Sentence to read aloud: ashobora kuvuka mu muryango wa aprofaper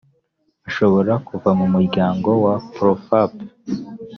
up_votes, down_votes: 1, 2